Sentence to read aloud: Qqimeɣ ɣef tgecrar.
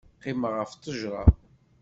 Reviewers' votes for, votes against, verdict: 2, 0, accepted